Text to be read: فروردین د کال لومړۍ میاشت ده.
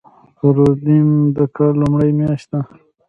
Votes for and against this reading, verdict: 1, 2, rejected